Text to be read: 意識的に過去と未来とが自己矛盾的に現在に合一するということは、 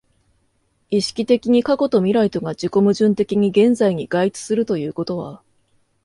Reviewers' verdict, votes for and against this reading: rejected, 1, 2